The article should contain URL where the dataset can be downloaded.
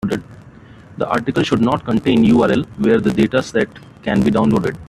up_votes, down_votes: 0, 2